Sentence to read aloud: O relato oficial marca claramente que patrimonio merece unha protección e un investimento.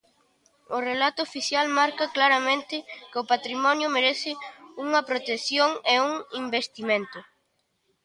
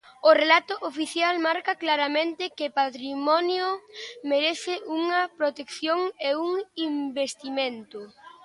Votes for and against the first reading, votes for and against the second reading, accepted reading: 1, 2, 2, 0, second